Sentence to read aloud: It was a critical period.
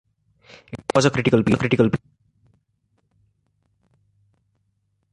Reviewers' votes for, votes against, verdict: 0, 2, rejected